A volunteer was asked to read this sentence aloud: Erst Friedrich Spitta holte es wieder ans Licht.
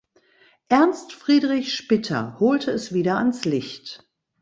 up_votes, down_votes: 0, 2